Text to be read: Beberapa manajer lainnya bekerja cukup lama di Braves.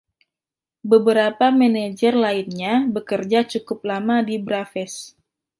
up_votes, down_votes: 2, 0